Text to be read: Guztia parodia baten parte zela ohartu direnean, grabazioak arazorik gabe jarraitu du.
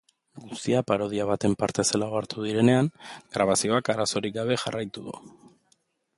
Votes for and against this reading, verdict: 4, 0, accepted